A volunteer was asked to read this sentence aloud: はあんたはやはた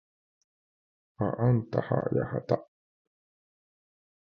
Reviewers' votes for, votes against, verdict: 1, 2, rejected